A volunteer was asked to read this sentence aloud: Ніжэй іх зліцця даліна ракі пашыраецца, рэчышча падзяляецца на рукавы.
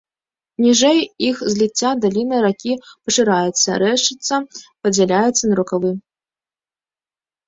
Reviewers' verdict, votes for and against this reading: rejected, 0, 2